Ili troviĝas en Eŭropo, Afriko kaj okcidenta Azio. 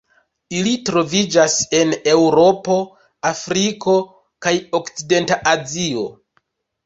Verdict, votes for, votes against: rejected, 1, 2